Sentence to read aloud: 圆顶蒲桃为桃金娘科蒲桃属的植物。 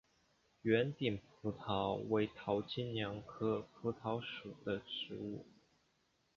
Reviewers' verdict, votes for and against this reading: accepted, 2, 1